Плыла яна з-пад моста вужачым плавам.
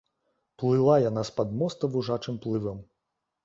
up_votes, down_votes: 0, 2